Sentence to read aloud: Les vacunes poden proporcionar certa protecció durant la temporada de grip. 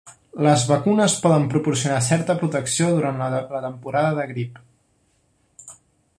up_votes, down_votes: 0, 2